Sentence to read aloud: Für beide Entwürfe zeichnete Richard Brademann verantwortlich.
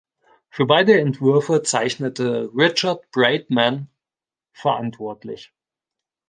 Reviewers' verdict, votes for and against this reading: rejected, 1, 2